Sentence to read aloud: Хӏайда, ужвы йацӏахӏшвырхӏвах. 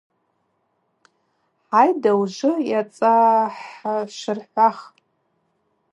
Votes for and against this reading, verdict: 2, 0, accepted